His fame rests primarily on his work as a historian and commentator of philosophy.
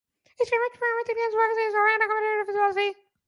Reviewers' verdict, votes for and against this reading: rejected, 0, 2